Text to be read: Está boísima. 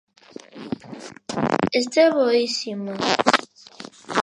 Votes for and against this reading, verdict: 1, 2, rejected